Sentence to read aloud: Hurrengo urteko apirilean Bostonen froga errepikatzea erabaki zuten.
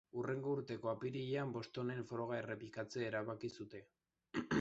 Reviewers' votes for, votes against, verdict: 1, 2, rejected